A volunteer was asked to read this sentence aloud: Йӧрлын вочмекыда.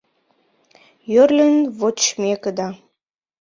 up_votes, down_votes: 0, 2